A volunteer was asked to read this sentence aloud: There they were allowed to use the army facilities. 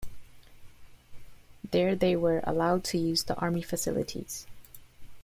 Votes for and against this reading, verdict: 2, 0, accepted